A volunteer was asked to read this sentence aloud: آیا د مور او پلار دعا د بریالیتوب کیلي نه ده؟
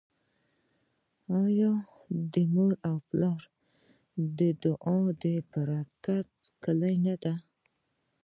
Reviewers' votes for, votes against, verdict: 1, 2, rejected